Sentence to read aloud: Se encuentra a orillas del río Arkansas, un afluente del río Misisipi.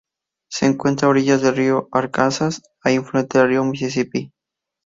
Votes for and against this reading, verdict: 0, 2, rejected